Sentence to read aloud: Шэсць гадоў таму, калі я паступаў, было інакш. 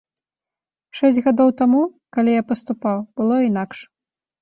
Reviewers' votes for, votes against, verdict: 2, 0, accepted